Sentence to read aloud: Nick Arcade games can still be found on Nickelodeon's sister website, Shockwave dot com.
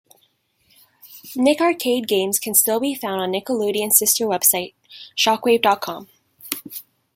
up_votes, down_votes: 2, 0